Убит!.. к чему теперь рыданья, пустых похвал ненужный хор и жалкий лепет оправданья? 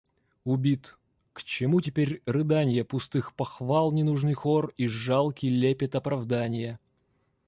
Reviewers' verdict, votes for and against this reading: accepted, 2, 1